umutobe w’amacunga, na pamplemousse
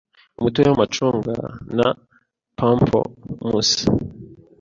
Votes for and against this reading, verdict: 2, 0, accepted